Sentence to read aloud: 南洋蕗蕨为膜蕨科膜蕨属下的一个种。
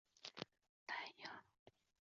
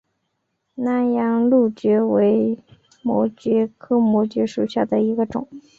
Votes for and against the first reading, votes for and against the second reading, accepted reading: 0, 2, 8, 0, second